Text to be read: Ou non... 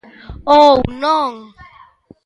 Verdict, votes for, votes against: accepted, 2, 0